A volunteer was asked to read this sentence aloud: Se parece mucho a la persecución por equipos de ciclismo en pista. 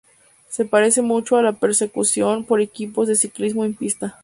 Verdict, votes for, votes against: accepted, 4, 0